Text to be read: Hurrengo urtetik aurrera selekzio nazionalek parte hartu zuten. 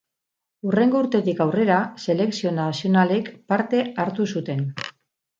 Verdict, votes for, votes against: rejected, 2, 2